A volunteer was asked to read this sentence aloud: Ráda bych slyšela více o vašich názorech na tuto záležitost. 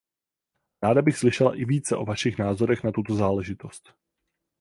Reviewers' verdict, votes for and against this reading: rejected, 4, 4